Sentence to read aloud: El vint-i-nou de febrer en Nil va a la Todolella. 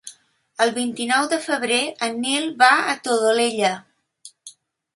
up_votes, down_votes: 0, 2